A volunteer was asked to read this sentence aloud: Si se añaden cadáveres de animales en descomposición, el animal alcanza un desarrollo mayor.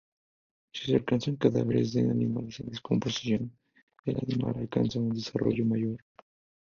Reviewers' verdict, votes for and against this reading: accepted, 2, 0